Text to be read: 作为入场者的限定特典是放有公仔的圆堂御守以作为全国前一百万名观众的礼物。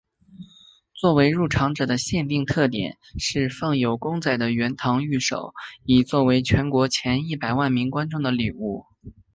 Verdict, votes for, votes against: accepted, 2, 0